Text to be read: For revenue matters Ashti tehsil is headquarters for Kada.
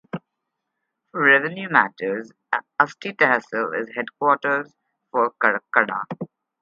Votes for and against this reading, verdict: 0, 4, rejected